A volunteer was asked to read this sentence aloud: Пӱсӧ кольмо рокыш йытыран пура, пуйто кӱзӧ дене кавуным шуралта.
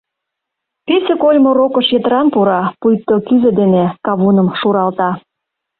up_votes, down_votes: 2, 0